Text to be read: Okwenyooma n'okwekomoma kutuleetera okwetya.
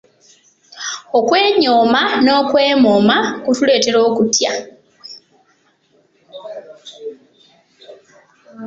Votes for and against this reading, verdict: 1, 2, rejected